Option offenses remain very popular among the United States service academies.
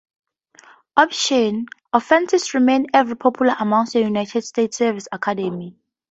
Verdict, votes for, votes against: rejected, 0, 2